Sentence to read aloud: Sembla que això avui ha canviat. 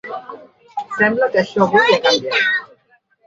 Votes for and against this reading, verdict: 0, 2, rejected